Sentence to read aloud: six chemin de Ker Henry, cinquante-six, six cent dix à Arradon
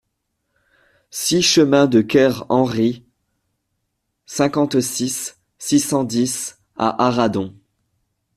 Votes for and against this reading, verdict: 2, 0, accepted